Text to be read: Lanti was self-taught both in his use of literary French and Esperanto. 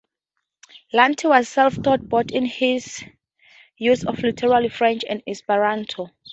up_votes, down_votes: 2, 0